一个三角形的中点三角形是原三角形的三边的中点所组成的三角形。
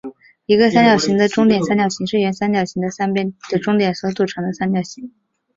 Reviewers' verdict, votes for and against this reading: accepted, 4, 0